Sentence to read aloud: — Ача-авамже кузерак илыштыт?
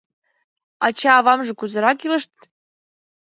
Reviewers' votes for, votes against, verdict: 1, 2, rejected